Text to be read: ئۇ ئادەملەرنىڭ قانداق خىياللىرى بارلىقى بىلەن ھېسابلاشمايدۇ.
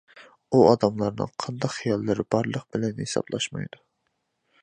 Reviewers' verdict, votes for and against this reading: rejected, 1, 2